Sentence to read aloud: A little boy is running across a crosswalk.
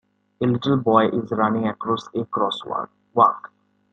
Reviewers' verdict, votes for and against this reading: rejected, 0, 2